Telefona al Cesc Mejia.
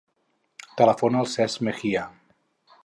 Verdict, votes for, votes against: accepted, 4, 0